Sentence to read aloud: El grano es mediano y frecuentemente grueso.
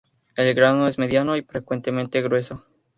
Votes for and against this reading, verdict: 0, 2, rejected